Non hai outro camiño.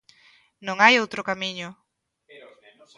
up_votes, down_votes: 0, 2